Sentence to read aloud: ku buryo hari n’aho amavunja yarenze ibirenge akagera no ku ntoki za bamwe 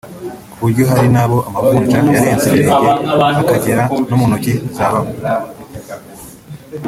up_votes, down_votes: 1, 2